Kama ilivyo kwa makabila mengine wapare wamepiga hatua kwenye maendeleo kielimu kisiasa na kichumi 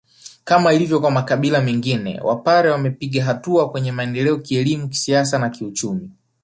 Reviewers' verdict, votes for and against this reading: accepted, 2, 0